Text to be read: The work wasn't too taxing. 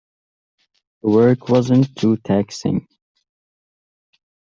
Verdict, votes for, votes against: rejected, 0, 2